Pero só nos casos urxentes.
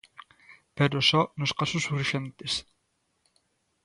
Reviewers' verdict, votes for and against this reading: accepted, 2, 0